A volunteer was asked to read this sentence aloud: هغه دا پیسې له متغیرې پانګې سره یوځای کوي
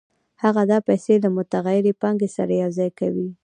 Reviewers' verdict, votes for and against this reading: accepted, 2, 0